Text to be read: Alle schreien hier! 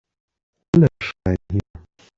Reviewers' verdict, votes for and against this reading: rejected, 1, 2